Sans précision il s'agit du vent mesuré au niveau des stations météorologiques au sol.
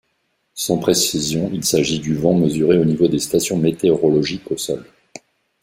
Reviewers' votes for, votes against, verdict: 2, 0, accepted